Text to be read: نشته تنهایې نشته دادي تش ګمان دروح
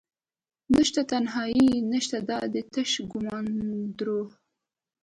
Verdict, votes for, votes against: accepted, 3, 1